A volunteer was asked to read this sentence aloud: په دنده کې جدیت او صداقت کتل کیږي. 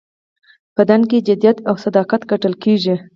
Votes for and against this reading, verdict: 4, 0, accepted